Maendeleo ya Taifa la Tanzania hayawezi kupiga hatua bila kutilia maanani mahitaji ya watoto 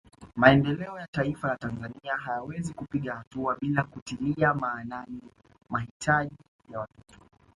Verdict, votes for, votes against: rejected, 1, 2